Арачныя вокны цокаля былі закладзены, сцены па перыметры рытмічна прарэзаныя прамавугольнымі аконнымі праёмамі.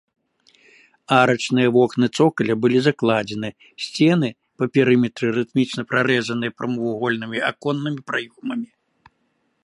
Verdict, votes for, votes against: accepted, 2, 0